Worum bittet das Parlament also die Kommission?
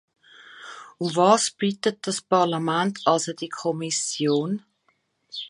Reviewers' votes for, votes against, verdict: 0, 2, rejected